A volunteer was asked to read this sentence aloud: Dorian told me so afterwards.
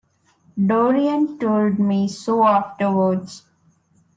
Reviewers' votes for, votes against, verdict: 2, 0, accepted